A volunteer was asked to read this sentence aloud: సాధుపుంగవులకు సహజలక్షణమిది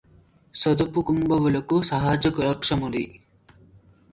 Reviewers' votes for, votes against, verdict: 0, 2, rejected